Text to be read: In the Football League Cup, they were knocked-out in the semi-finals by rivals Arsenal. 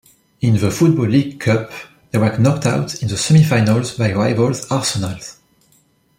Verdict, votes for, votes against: rejected, 0, 2